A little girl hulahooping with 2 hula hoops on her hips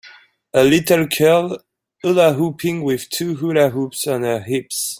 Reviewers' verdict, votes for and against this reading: rejected, 0, 2